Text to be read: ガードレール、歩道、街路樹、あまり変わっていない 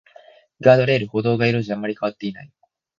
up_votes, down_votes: 0, 3